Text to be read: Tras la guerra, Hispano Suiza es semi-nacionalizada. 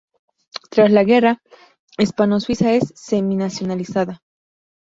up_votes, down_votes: 0, 2